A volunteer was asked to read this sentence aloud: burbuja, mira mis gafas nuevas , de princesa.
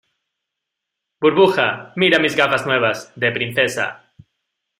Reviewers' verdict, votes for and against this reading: accepted, 2, 1